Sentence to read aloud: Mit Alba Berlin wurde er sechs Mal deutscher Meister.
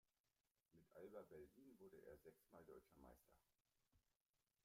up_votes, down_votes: 0, 2